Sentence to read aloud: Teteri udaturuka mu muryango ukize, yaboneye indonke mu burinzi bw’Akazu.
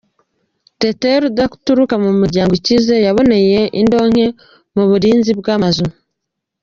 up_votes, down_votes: 1, 2